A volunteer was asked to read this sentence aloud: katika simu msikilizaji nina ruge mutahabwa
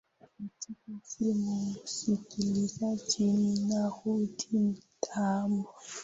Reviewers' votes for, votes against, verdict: 2, 1, accepted